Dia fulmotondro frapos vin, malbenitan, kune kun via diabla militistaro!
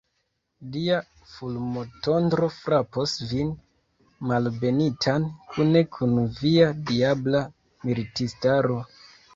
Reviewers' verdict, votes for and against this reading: accepted, 2, 0